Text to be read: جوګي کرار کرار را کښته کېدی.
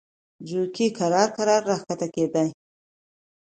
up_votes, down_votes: 2, 0